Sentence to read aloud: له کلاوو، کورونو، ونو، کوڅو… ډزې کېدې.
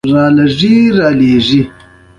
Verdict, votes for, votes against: accepted, 2, 1